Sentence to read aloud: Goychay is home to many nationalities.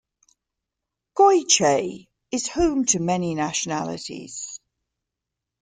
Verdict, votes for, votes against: accepted, 2, 0